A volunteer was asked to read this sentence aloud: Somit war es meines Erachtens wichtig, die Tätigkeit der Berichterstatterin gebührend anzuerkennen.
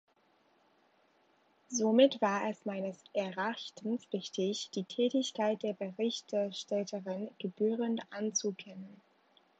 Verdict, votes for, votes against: rejected, 0, 2